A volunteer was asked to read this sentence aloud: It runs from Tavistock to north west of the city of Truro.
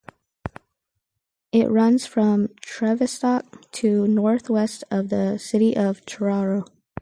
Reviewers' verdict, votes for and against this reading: rejected, 0, 4